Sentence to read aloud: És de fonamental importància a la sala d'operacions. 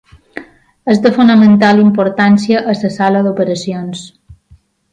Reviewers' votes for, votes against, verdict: 0, 2, rejected